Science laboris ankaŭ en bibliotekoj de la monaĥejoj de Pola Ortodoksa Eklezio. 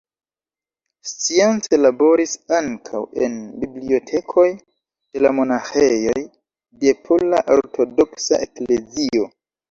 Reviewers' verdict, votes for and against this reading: accepted, 3, 1